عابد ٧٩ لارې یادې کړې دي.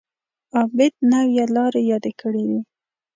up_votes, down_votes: 0, 2